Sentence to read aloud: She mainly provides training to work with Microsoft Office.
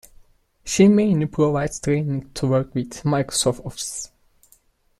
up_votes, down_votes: 3, 1